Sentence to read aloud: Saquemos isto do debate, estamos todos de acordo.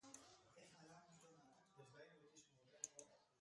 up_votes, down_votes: 0, 2